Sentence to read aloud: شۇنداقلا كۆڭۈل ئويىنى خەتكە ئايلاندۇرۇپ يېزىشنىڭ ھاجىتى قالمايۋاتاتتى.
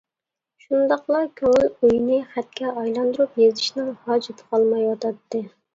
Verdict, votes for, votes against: accepted, 2, 0